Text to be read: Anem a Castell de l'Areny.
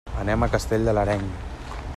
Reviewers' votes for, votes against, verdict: 3, 0, accepted